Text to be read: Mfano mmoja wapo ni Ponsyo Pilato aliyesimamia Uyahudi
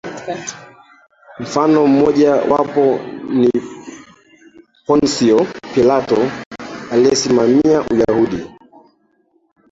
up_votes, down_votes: 2, 1